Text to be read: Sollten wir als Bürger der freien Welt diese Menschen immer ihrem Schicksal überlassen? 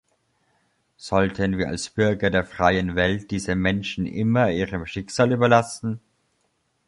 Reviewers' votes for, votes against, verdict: 2, 0, accepted